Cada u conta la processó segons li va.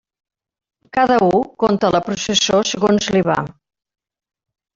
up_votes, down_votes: 2, 1